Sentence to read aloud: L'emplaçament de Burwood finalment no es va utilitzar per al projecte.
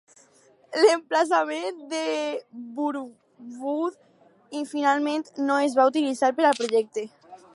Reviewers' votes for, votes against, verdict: 0, 4, rejected